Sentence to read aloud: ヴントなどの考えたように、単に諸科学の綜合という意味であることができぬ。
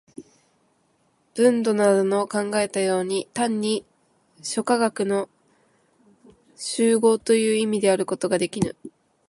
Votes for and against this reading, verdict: 0, 2, rejected